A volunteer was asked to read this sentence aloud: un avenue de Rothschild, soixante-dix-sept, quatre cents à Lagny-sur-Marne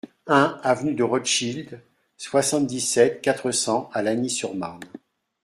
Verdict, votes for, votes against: accepted, 2, 0